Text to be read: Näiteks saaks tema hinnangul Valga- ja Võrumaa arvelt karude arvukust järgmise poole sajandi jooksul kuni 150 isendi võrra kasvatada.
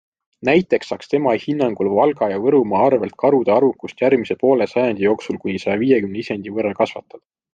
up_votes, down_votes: 0, 2